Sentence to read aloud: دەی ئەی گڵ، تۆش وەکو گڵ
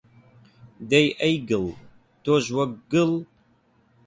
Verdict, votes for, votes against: rejected, 0, 8